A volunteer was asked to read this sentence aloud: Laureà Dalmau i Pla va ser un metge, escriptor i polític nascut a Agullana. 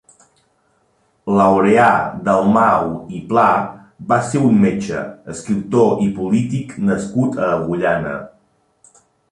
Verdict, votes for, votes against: accepted, 4, 0